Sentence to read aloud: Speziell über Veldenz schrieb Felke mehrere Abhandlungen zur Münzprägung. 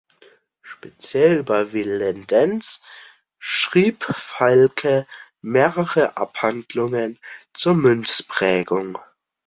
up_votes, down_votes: 0, 2